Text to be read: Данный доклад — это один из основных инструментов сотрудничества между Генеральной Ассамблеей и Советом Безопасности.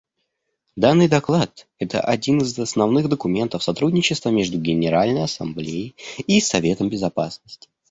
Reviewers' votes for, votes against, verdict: 0, 2, rejected